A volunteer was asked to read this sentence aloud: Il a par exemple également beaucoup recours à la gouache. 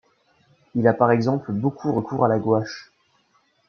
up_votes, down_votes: 0, 2